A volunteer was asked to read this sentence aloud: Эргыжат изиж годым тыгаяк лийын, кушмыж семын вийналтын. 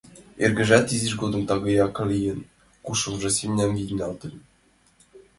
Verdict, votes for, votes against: rejected, 0, 2